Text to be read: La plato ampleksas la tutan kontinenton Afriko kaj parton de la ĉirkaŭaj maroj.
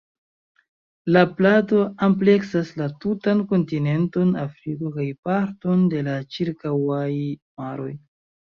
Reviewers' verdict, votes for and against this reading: accepted, 2, 1